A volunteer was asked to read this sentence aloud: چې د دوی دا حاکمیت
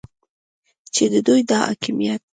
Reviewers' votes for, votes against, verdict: 2, 0, accepted